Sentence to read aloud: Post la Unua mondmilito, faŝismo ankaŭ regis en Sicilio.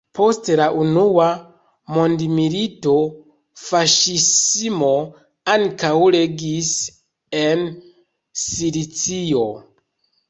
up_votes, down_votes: 1, 2